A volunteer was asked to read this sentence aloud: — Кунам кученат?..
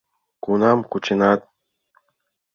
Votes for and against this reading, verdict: 3, 0, accepted